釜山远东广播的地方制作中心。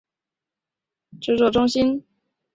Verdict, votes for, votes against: rejected, 0, 2